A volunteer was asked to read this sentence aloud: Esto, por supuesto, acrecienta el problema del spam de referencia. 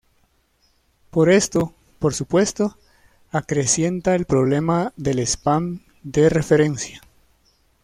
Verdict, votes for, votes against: rejected, 0, 2